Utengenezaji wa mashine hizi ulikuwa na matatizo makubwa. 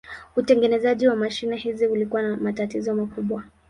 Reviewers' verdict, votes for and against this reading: accepted, 5, 0